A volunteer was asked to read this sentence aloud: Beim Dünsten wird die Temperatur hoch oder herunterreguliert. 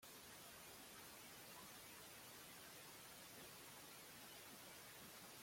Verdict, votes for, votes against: rejected, 0, 2